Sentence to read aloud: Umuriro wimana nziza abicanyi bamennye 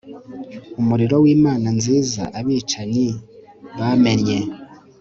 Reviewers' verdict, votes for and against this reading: accepted, 3, 0